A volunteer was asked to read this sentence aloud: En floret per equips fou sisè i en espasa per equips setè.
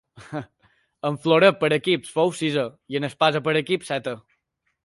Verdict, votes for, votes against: rejected, 1, 2